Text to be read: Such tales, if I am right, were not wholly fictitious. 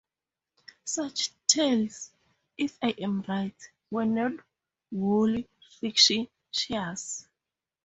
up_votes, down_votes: 2, 2